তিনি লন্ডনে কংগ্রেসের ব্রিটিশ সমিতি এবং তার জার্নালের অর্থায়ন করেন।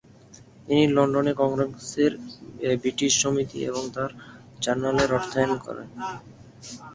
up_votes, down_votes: 3, 5